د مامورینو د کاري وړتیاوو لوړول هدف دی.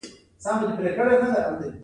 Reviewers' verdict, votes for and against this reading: accepted, 2, 1